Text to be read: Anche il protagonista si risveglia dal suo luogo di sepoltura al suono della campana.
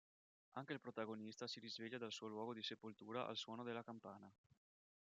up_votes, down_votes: 3, 4